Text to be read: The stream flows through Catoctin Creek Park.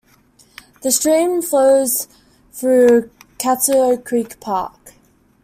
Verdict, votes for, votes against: rejected, 0, 2